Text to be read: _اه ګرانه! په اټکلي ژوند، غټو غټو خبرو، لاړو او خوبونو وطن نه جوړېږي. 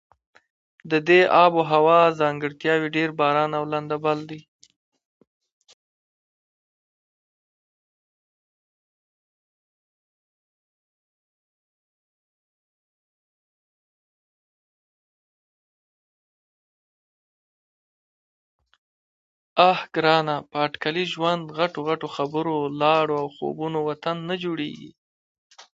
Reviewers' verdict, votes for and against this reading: rejected, 0, 2